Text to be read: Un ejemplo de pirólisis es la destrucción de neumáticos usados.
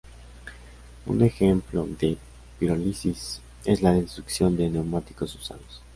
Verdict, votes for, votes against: accepted, 2, 0